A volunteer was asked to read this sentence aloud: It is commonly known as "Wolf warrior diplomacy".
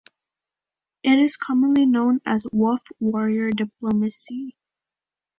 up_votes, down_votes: 2, 0